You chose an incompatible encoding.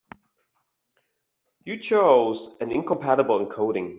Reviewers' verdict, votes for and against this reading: accepted, 2, 0